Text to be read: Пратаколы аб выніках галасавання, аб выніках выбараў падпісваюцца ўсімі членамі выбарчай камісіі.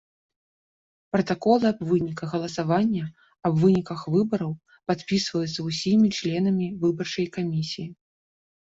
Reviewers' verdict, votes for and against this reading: accepted, 2, 0